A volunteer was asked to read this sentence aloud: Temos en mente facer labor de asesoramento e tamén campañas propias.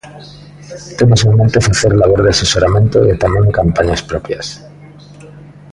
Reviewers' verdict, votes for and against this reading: accepted, 2, 0